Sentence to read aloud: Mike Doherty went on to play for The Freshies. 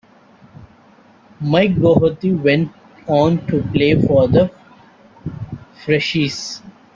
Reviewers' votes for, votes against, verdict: 2, 1, accepted